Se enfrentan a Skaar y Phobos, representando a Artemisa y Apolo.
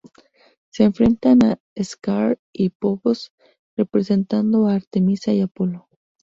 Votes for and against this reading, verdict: 2, 0, accepted